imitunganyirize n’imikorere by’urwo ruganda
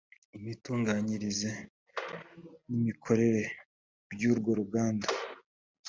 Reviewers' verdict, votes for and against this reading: accepted, 2, 0